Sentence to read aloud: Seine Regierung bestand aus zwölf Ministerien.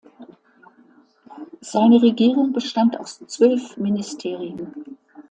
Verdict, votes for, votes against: accepted, 2, 0